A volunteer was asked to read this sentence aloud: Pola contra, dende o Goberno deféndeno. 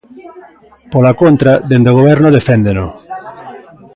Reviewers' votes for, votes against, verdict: 0, 2, rejected